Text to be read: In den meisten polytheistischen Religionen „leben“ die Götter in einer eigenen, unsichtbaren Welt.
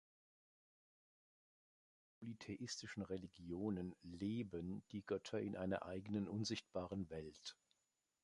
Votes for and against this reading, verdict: 1, 2, rejected